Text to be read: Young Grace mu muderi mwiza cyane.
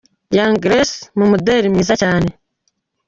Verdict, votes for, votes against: accepted, 2, 1